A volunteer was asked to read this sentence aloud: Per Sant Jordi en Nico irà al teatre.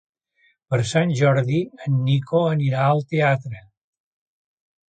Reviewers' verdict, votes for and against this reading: rejected, 0, 2